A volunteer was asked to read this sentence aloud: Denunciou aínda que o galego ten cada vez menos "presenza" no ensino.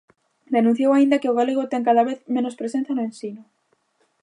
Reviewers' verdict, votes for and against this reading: accepted, 2, 0